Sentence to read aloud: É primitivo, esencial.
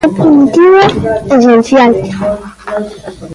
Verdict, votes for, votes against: accepted, 2, 1